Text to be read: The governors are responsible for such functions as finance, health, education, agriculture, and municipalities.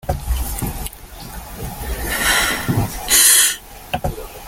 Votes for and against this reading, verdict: 0, 2, rejected